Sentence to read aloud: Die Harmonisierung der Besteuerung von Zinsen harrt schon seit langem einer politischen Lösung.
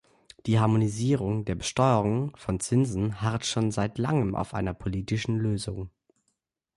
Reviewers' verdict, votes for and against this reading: rejected, 0, 2